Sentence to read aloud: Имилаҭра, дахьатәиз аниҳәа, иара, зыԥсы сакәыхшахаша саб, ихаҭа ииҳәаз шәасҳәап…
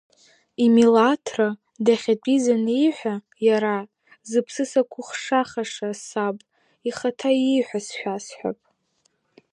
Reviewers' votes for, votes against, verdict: 0, 2, rejected